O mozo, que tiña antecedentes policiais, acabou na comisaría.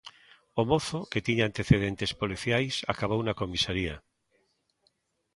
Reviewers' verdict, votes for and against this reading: accepted, 2, 0